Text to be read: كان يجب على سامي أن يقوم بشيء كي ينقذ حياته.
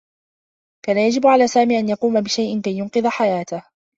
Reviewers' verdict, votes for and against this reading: accepted, 2, 0